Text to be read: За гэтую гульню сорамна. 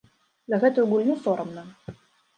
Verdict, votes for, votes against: rejected, 0, 2